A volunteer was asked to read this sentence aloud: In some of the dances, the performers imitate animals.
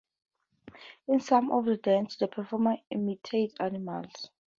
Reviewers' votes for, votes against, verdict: 0, 2, rejected